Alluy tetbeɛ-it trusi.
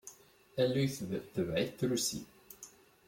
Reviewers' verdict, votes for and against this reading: rejected, 0, 2